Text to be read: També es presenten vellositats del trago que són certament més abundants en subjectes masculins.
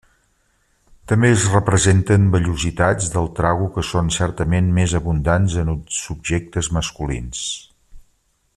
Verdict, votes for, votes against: rejected, 0, 2